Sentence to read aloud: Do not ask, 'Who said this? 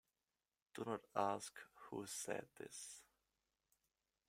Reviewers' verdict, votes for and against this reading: rejected, 1, 2